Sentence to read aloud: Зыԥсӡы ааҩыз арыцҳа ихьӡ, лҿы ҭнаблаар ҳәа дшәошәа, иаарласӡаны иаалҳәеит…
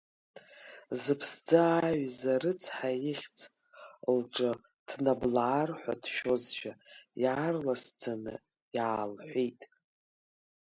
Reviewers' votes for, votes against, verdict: 0, 2, rejected